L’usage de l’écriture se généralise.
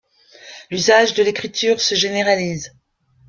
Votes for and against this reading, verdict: 2, 1, accepted